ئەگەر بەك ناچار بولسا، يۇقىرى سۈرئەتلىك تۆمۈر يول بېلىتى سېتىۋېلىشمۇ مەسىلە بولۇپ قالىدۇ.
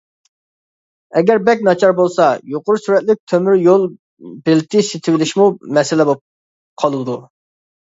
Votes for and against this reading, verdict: 1, 2, rejected